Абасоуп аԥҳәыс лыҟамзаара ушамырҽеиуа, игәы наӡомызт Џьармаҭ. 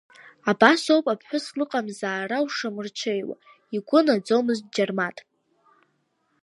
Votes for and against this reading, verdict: 3, 1, accepted